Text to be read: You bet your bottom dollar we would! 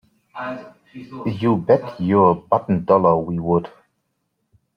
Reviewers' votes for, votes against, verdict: 2, 0, accepted